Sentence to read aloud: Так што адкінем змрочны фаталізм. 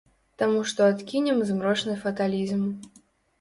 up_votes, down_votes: 1, 2